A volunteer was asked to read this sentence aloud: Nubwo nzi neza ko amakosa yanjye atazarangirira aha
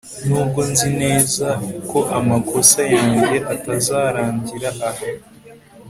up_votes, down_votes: 3, 0